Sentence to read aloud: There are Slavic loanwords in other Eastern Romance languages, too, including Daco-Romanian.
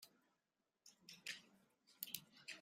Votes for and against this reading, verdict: 1, 2, rejected